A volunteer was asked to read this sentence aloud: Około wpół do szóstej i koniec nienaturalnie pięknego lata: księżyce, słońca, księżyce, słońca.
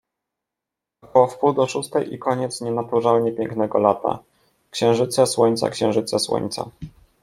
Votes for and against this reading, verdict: 1, 2, rejected